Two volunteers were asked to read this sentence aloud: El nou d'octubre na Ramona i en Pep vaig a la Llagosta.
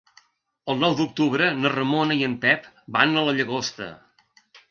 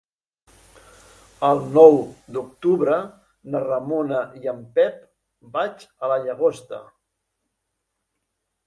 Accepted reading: second